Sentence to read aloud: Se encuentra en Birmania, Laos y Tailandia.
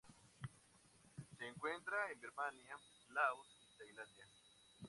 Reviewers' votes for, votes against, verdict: 2, 0, accepted